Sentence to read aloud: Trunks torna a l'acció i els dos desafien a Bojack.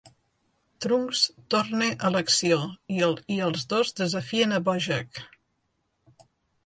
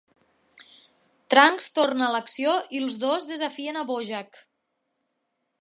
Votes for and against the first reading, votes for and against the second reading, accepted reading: 1, 2, 2, 0, second